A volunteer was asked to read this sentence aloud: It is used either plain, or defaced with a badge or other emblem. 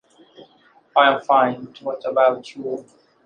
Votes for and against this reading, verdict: 0, 2, rejected